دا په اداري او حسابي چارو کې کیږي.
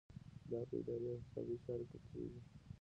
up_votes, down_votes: 2, 1